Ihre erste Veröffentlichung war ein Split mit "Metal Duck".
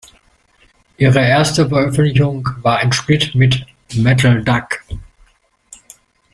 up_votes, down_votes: 2, 0